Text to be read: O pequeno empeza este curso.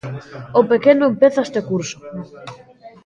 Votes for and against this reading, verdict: 1, 2, rejected